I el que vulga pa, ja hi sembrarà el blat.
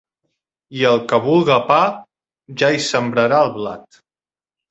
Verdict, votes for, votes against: accepted, 2, 0